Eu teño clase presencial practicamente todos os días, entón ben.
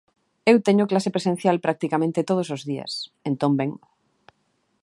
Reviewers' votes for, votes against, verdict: 2, 0, accepted